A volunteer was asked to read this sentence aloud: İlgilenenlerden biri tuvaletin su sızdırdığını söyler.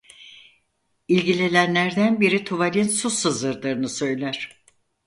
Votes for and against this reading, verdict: 0, 4, rejected